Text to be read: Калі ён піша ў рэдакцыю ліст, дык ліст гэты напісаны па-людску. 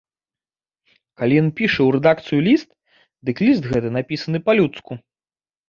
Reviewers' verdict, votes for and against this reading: accepted, 3, 0